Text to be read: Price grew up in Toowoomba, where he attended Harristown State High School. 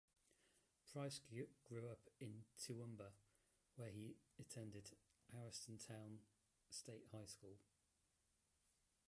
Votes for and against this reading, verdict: 0, 3, rejected